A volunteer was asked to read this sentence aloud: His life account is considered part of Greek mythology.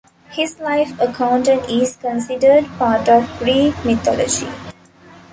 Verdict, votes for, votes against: rejected, 0, 2